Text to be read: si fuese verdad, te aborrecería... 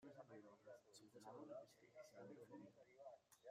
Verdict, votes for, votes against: rejected, 0, 2